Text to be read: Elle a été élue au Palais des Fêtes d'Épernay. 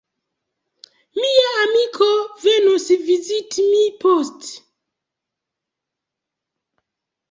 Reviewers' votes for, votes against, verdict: 0, 3, rejected